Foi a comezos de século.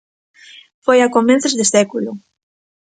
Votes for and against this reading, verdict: 2, 1, accepted